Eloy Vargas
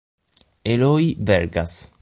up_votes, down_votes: 3, 6